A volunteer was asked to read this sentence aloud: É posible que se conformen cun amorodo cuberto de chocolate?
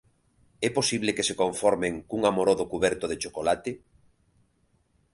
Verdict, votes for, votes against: accepted, 3, 0